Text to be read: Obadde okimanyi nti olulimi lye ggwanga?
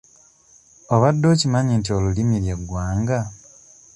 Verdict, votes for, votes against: accepted, 2, 0